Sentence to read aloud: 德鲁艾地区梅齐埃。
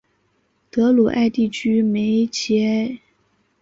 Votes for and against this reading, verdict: 2, 0, accepted